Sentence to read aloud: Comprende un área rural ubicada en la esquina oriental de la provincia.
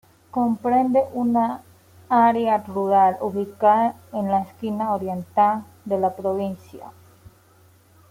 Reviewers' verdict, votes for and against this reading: accepted, 2, 0